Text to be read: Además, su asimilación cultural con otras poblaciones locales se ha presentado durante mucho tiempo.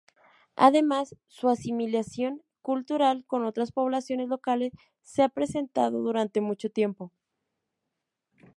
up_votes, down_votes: 2, 0